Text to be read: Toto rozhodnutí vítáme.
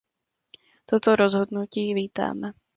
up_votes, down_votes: 2, 0